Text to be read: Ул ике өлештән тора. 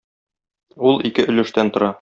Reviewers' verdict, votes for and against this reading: accepted, 2, 0